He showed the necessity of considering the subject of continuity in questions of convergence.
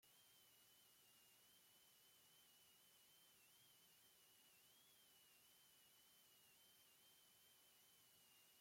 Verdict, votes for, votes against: rejected, 0, 3